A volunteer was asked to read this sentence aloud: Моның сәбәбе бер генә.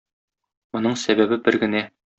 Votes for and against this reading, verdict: 2, 0, accepted